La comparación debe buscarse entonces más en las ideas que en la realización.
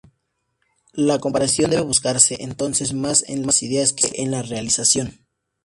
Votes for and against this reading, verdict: 2, 2, rejected